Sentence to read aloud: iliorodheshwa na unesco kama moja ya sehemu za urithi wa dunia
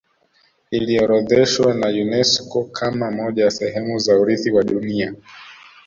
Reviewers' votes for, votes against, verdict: 3, 2, accepted